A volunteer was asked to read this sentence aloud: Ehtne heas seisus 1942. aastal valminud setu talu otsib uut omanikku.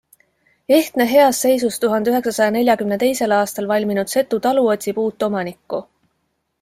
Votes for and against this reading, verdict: 0, 2, rejected